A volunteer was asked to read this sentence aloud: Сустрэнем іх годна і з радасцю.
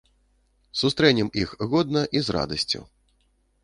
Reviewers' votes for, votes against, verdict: 2, 0, accepted